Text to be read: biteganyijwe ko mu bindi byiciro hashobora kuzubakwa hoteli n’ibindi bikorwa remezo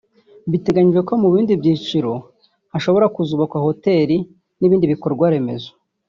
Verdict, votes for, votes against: accepted, 2, 0